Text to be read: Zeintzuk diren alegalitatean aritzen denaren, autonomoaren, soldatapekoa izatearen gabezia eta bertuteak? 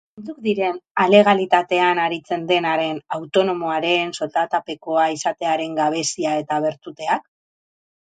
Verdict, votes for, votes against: rejected, 2, 2